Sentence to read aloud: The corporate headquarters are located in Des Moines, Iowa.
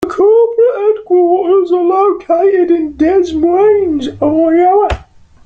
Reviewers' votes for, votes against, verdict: 0, 2, rejected